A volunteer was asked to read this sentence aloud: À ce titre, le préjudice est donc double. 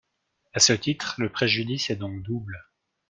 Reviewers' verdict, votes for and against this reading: accepted, 2, 0